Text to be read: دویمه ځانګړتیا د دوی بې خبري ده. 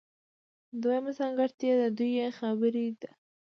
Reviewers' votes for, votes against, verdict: 0, 2, rejected